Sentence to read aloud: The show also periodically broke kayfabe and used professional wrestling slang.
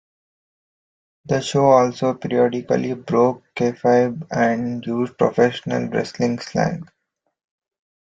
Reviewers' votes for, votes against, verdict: 2, 1, accepted